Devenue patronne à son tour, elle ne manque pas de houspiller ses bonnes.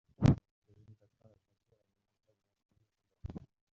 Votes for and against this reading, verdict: 0, 2, rejected